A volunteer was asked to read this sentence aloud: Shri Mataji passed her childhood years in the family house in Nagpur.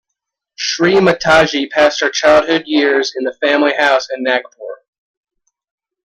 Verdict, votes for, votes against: rejected, 0, 2